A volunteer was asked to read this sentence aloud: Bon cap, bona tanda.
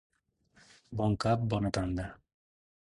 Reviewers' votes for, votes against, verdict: 2, 0, accepted